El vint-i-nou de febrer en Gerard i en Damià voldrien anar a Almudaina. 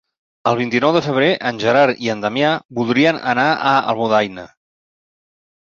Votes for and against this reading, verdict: 1, 2, rejected